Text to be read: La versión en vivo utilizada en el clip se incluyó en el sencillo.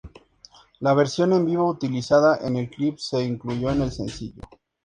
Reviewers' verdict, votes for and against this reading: accepted, 2, 0